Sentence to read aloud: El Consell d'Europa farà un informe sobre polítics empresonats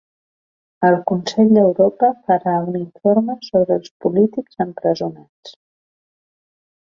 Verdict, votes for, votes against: rejected, 1, 2